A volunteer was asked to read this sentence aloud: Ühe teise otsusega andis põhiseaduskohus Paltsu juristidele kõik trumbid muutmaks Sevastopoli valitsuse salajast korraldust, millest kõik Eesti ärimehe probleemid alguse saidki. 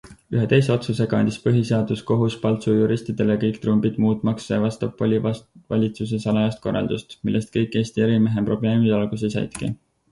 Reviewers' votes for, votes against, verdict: 4, 0, accepted